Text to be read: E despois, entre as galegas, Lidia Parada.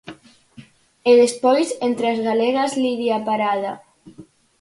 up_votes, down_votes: 4, 0